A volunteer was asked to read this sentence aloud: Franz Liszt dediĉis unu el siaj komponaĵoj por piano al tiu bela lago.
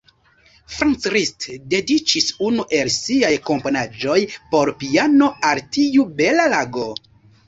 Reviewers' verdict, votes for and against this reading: accepted, 2, 0